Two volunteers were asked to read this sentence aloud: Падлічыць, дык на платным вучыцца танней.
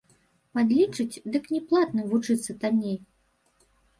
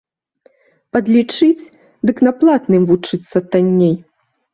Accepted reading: second